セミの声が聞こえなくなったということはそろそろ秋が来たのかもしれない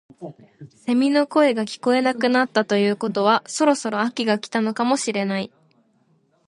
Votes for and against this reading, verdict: 2, 1, accepted